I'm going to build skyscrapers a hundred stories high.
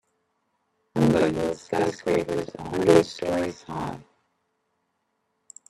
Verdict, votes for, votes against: rejected, 1, 2